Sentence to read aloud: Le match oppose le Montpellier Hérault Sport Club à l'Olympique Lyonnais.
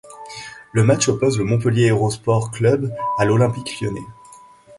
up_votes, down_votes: 2, 0